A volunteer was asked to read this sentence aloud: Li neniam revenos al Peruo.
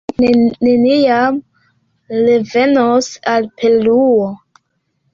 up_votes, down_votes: 2, 3